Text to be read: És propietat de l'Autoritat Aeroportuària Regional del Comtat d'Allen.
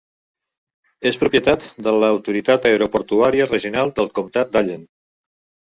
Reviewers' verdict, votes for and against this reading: rejected, 1, 2